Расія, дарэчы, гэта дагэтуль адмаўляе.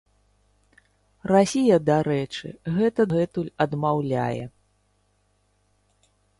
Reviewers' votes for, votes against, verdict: 0, 2, rejected